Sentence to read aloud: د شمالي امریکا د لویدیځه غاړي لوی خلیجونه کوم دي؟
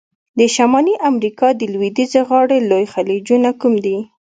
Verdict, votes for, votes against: accepted, 3, 0